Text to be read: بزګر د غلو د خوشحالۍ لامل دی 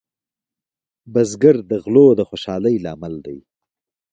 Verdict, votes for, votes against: rejected, 1, 2